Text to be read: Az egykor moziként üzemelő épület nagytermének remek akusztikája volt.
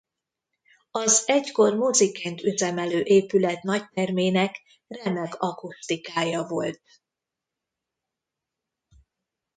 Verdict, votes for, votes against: rejected, 1, 2